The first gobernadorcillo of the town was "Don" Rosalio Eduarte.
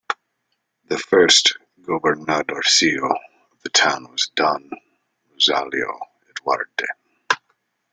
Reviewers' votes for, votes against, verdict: 1, 2, rejected